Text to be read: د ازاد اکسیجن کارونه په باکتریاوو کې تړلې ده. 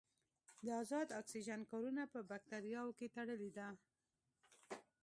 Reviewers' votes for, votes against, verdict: 2, 0, accepted